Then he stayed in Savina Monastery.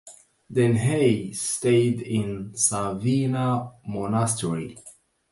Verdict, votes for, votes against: rejected, 0, 2